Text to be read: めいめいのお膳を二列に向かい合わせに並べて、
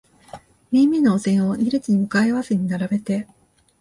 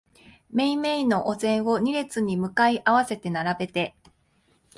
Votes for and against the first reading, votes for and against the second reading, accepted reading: 2, 0, 1, 2, first